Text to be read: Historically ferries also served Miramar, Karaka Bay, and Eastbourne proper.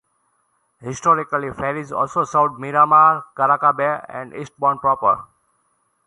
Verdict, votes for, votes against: accepted, 2, 0